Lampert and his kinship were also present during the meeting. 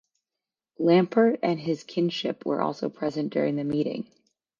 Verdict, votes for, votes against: accepted, 2, 0